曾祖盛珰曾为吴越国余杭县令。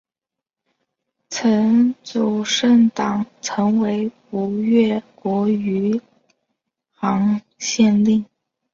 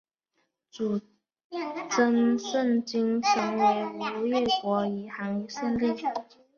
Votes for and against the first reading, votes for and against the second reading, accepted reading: 2, 0, 0, 2, first